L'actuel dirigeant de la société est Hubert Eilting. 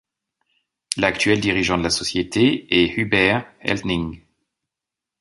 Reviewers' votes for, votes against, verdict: 1, 2, rejected